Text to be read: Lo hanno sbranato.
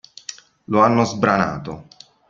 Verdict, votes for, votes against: accepted, 2, 0